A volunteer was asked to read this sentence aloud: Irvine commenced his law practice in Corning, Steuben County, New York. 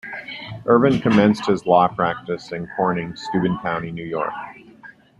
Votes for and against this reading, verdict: 2, 0, accepted